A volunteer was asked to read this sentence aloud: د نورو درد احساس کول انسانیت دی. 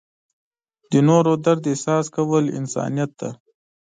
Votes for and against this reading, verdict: 0, 2, rejected